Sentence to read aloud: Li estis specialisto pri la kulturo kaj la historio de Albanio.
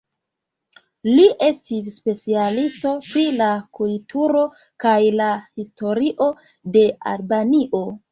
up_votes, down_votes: 0, 2